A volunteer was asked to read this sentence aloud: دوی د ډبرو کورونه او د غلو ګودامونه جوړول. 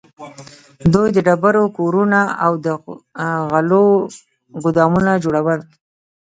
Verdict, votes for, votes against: accepted, 2, 0